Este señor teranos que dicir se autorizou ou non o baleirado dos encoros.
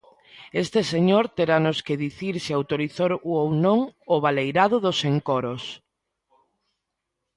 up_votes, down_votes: 0, 2